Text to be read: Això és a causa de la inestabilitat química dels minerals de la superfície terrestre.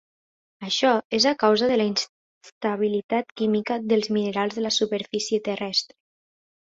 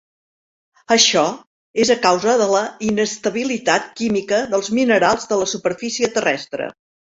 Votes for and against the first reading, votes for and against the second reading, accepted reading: 0, 3, 6, 0, second